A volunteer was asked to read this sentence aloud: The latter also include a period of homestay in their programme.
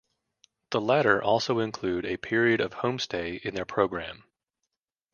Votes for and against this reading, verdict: 2, 0, accepted